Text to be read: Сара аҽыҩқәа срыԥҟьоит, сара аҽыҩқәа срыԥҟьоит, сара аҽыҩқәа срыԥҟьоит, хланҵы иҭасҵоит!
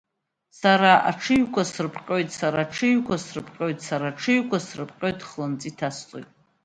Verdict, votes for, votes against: accepted, 2, 0